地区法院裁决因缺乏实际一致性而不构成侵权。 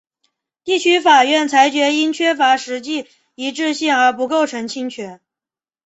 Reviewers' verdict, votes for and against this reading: rejected, 1, 2